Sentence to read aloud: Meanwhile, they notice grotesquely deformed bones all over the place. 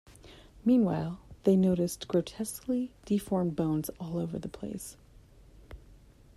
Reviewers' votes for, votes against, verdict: 1, 2, rejected